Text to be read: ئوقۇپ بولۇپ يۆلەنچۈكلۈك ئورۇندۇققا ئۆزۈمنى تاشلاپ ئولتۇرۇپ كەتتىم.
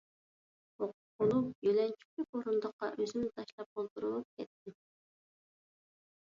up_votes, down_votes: 1, 2